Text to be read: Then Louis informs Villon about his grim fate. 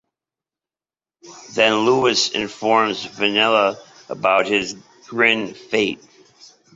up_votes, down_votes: 0, 2